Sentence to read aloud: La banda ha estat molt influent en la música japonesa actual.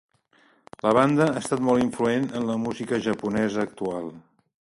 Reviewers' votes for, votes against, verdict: 2, 0, accepted